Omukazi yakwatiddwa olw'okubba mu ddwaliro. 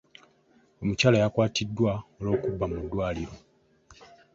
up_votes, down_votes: 0, 2